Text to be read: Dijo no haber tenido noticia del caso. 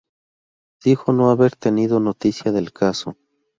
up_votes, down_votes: 2, 0